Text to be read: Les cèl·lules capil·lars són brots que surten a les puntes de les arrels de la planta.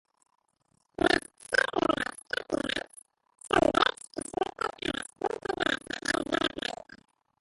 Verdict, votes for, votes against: rejected, 0, 4